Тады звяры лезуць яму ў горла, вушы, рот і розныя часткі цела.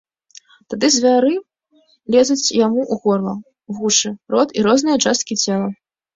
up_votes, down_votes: 2, 0